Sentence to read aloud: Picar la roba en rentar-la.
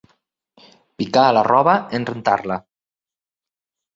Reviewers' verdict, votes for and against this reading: rejected, 0, 4